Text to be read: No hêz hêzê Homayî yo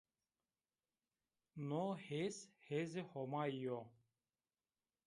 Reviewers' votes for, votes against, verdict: 2, 0, accepted